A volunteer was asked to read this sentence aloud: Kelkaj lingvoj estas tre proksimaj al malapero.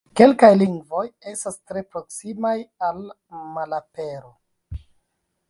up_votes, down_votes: 0, 2